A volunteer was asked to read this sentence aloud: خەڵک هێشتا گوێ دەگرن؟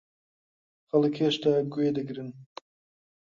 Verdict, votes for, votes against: rejected, 1, 2